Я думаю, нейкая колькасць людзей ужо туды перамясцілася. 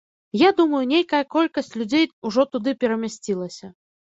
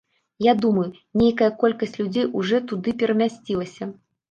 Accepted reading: first